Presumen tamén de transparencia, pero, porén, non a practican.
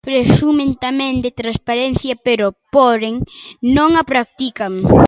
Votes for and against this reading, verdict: 0, 2, rejected